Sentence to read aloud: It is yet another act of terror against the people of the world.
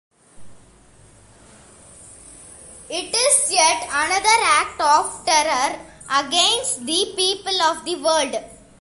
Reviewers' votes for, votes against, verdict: 2, 0, accepted